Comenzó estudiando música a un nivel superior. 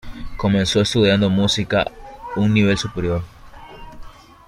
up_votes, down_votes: 1, 2